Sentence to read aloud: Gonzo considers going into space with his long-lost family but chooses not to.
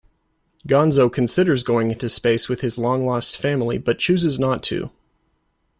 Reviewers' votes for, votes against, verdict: 2, 0, accepted